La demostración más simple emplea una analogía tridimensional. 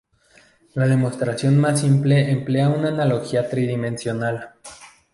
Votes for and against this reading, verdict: 4, 0, accepted